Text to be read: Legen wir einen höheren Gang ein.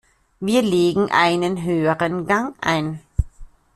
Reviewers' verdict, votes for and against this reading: rejected, 0, 2